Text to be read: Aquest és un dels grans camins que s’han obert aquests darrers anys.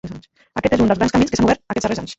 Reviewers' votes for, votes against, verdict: 0, 2, rejected